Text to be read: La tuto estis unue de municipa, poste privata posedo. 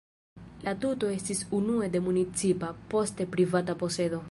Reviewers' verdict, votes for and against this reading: accepted, 2, 0